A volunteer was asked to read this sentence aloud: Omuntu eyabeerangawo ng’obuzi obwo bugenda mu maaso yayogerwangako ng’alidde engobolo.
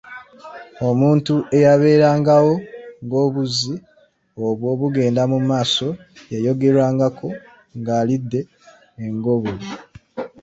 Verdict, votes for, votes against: rejected, 1, 2